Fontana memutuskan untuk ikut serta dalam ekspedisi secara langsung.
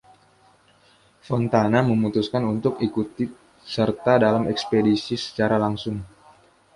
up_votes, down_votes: 0, 2